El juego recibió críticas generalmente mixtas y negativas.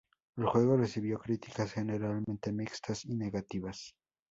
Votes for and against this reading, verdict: 0, 2, rejected